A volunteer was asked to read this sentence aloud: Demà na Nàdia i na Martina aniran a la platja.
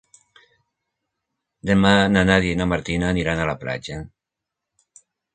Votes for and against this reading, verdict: 2, 0, accepted